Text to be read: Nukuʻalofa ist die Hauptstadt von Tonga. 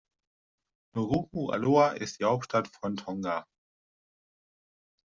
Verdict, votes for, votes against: rejected, 0, 2